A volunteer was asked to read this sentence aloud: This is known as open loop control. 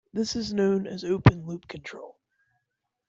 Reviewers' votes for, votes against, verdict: 2, 0, accepted